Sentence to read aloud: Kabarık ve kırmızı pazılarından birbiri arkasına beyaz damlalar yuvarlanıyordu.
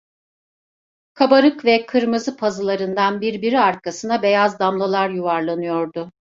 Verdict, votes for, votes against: accepted, 2, 0